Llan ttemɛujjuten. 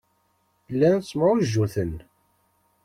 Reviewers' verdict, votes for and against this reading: accepted, 2, 0